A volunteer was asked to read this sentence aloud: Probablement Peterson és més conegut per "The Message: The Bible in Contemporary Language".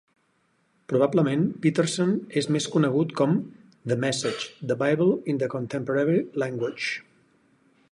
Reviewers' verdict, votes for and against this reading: rejected, 0, 6